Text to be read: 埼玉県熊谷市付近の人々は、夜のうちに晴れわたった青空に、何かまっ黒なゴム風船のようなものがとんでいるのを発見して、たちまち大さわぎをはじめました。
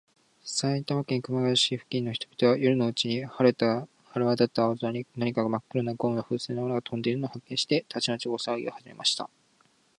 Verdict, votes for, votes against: accepted, 7, 5